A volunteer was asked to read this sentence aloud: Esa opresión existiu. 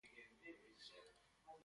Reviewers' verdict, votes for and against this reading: rejected, 0, 2